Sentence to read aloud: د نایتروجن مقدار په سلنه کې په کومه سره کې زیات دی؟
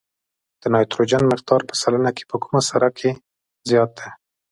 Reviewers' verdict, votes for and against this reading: accepted, 2, 0